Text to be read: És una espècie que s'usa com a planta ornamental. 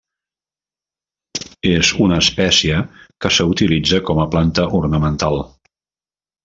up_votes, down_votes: 0, 2